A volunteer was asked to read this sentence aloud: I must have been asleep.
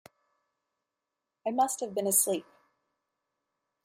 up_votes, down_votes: 2, 0